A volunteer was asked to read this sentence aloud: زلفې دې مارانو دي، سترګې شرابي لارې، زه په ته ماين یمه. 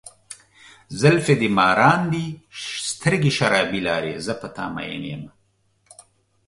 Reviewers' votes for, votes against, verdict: 2, 0, accepted